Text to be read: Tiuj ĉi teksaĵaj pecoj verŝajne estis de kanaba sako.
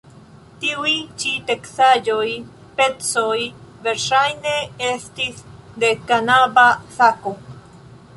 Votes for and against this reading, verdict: 1, 3, rejected